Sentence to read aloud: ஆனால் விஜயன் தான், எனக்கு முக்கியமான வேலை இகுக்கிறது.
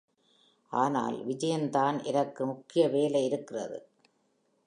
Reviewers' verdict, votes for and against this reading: accepted, 2, 1